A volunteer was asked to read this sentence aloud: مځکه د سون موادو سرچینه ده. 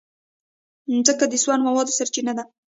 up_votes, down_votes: 0, 2